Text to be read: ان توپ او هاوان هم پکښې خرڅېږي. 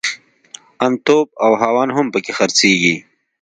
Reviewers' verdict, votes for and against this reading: accepted, 2, 0